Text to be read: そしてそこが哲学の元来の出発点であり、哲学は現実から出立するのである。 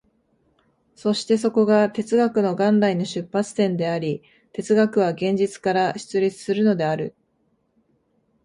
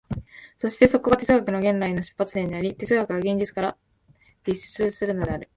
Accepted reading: first